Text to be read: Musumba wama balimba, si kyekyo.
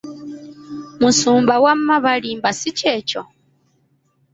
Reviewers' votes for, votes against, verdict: 2, 0, accepted